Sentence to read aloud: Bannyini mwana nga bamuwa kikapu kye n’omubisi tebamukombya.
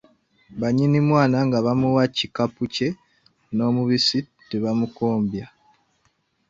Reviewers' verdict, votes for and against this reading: rejected, 1, 2